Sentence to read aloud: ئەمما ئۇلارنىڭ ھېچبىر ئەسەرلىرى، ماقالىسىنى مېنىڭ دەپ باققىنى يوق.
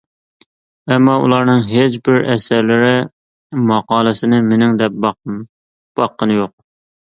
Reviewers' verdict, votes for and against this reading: rejected, 1, 2